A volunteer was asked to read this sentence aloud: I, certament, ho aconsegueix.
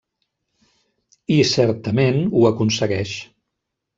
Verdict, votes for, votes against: rejected, 1, 2